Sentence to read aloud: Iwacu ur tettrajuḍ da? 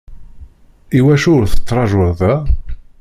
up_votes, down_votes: 0, 2